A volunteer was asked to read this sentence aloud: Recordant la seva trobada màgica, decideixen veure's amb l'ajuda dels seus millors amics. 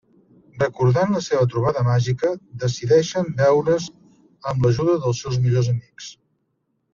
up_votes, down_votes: 1, 2